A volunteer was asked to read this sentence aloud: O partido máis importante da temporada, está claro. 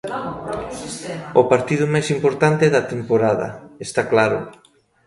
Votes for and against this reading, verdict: 2, 1, accepted